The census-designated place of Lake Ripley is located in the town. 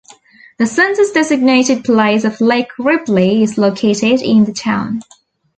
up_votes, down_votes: 2, 1